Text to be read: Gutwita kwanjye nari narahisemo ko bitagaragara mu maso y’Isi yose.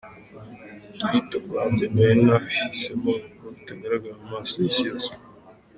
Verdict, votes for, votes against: accepted, 2, 1